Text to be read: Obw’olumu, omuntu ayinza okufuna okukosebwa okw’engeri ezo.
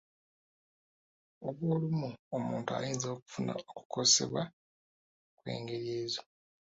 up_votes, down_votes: 0, 2